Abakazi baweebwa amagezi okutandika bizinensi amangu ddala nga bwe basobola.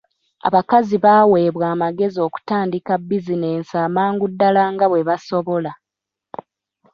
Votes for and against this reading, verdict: 1, 2, rejected